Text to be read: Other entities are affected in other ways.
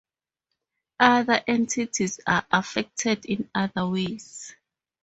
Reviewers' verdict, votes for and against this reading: accepted, 4, 0